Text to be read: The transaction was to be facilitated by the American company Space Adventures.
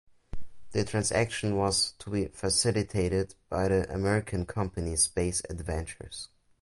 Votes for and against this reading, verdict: 2, 0, accepted